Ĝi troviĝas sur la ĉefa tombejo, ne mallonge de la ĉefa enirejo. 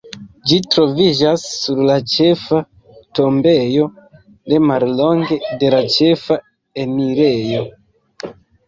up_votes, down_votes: 1, 2